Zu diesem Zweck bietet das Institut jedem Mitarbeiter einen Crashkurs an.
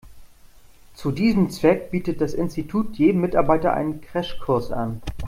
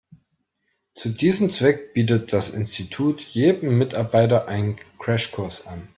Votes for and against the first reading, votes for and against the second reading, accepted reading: 2, 0, 1, 2, first